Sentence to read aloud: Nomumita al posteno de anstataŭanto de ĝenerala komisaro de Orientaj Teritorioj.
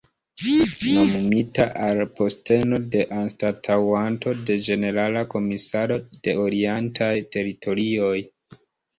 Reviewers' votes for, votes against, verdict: 2, 0, accepted